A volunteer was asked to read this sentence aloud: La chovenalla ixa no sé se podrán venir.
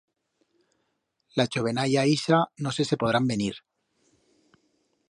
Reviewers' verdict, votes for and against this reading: accepted, 2, 0